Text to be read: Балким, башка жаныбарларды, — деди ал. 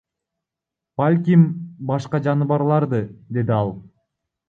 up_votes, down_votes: 2, 0